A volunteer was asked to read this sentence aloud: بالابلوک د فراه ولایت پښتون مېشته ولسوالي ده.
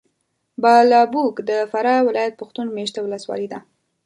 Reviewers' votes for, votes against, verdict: 1, 2, rejected